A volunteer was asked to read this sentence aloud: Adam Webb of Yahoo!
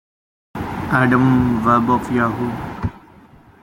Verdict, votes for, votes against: accepted, 2, 0